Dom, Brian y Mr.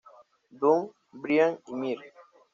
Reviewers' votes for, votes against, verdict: 1, 2, rejected